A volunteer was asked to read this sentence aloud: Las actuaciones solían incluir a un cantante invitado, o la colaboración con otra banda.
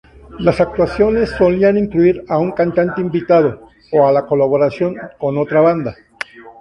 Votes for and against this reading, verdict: 0, 2, rejected